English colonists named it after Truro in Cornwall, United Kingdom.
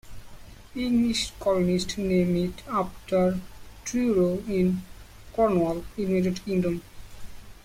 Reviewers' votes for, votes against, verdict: 1, 2, rejected